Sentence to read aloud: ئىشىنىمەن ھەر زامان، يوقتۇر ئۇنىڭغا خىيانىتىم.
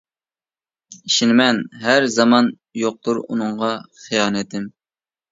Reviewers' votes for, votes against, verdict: 2, 0, accepted